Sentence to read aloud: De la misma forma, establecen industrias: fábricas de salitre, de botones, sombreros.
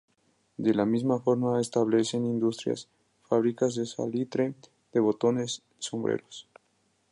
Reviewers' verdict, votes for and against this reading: accepted, 2, 0